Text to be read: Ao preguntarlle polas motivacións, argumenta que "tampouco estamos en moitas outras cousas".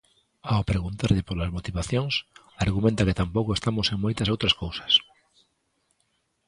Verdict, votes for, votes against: accepted, 2, 0